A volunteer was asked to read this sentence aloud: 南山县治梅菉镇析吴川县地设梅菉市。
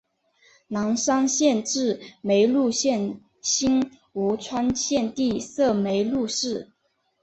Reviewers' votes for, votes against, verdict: 2, 0, accepted